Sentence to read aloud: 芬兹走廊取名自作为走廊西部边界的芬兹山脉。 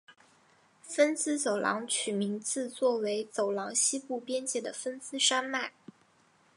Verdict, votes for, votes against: accepted, 3, 1